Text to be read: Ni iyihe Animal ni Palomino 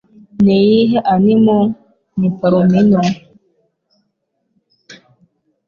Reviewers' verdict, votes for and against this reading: accepted, 4, 0